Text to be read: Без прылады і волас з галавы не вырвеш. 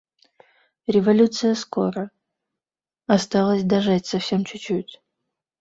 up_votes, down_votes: 0, 2